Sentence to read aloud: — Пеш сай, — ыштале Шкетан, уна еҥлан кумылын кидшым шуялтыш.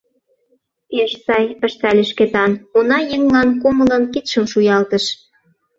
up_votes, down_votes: 2, 0